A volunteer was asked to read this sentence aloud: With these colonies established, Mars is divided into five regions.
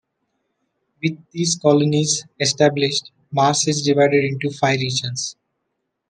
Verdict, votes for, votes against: rejected, 1, 2